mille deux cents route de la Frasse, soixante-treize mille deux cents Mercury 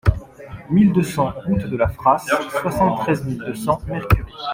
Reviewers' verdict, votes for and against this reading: rejected, 1, 2